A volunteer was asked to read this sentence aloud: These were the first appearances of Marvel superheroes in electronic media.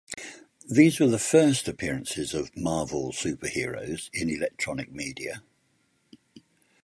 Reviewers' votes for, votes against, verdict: 4, 0, accepted